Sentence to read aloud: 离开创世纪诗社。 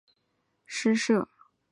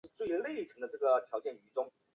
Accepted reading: first